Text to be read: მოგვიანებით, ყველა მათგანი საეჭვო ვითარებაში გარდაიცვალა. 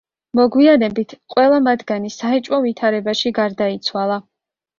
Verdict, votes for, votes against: accepted, 2, 0